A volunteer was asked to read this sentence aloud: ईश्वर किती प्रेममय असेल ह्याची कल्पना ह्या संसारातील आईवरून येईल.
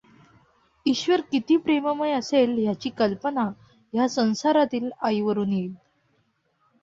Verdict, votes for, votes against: accepted, 2, 0